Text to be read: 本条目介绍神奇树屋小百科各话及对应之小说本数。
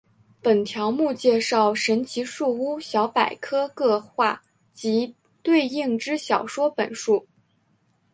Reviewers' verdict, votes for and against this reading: accepted, 6, 1